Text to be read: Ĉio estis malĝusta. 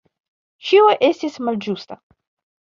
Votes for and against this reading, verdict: 2, 0, accepted